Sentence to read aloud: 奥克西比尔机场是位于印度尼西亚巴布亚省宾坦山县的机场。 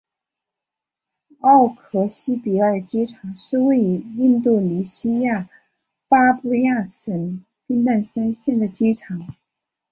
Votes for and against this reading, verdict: 2, 1, accepted